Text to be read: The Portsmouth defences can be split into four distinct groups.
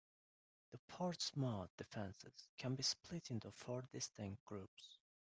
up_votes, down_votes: 0, 2